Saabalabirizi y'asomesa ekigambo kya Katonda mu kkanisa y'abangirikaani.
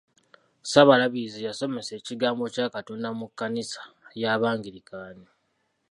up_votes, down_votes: 1, 2